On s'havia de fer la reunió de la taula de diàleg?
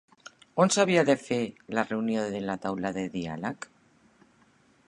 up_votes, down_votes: 5, 1